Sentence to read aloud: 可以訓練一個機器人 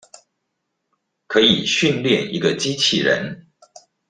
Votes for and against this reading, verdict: 2, 0, accepted